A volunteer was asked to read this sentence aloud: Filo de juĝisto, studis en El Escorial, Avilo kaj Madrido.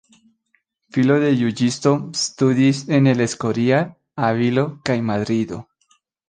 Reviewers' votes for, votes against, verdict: 1, 2, rejected